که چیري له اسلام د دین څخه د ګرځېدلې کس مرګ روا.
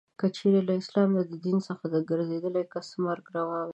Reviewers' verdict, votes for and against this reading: accepted, 2, 0